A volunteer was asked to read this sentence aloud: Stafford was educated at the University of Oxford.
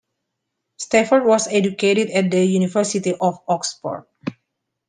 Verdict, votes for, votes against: accepted, 2, 0